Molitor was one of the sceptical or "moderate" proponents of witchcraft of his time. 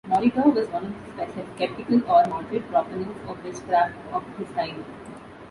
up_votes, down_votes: 0, 2